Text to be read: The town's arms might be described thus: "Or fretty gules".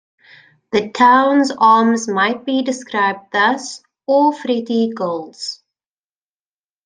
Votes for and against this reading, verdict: 2, 1, accepted